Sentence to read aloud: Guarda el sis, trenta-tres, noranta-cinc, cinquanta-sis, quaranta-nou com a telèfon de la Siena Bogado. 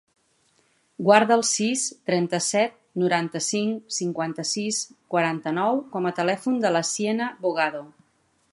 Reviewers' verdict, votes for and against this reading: rejected, 1, 2